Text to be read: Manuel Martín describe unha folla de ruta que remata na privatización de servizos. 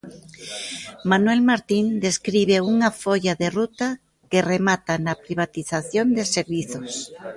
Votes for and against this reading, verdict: 2, 0, accepted